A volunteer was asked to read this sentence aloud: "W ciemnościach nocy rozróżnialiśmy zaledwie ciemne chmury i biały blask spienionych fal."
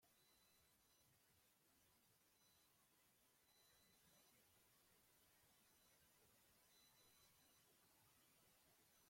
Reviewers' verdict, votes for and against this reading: rejected, 0, 2